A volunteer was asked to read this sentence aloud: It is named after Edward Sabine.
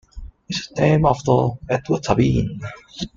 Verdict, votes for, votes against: rejected, 1, 2